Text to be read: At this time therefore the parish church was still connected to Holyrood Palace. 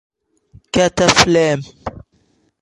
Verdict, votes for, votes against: rejected, 0, 2